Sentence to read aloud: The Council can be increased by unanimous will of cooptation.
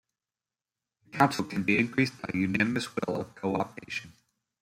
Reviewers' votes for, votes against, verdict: 0, 2, rejected